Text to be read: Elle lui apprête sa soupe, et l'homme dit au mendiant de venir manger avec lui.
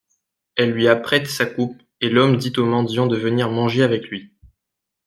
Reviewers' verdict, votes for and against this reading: rejected, 1, 2